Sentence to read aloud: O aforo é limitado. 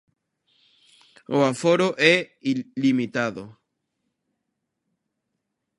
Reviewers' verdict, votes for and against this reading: rejected, 0, 2